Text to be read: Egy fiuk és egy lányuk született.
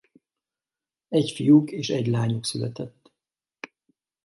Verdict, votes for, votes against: accepted, 4, 0